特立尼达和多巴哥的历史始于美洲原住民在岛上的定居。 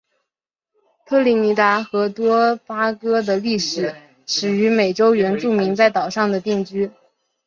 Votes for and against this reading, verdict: 2, 1, accepted